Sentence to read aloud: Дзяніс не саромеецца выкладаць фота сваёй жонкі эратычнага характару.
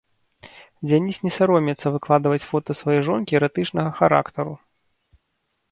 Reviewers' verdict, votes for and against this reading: rejected, 1, 2